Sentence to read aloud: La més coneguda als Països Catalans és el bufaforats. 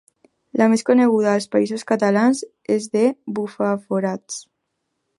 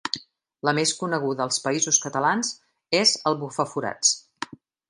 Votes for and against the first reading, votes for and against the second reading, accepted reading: 0, 2, 3, 0, second